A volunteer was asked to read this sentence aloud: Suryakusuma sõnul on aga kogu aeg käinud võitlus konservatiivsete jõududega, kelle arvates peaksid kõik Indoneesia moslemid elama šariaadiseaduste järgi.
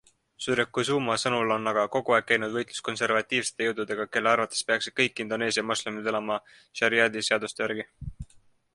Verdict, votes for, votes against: accepted, 2, 0